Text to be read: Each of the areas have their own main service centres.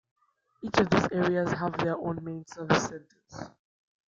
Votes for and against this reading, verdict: 0, 2, rejected